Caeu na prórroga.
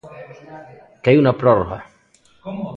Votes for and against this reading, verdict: 0, 2, rejected